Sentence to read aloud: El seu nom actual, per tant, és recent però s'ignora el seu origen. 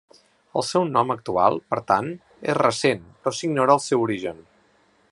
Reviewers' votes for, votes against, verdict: 3, 0, accepted